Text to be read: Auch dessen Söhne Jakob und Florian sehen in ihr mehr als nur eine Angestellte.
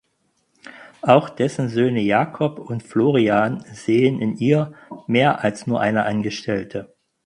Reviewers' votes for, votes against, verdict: 6, 0, accepted